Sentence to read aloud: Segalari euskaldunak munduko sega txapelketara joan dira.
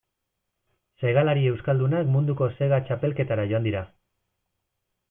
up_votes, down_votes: 2, 0